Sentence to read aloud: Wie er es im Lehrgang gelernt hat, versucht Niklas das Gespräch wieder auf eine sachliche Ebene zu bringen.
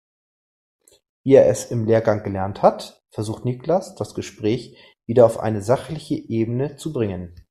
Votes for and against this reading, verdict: 2, 0, accepted